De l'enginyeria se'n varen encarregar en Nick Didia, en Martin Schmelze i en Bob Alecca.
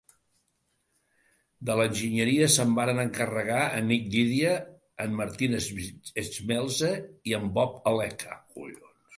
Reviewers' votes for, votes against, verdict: 1, 3, rejected